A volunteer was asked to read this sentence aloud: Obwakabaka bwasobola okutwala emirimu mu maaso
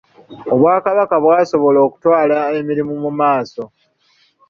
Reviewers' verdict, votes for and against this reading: accepted, 2, 1